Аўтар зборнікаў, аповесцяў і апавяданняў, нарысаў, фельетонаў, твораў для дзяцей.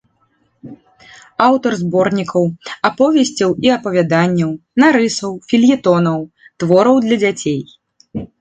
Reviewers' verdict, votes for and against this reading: rejected, 1, 2